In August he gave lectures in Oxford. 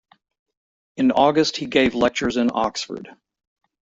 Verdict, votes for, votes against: accepted, 2, 0